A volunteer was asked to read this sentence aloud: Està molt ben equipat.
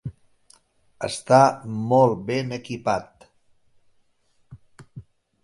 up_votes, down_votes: 3, 0